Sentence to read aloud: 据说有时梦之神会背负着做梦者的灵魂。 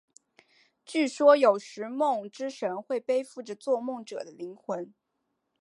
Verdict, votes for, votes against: accepted, 3, 0